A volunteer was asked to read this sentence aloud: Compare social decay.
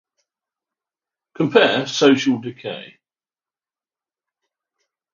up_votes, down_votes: 0, 3